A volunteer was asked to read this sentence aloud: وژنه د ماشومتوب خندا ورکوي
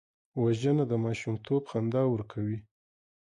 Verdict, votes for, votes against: accepted, 2, 0